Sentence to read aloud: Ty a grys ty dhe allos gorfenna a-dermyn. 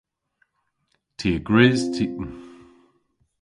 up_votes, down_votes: 0, 2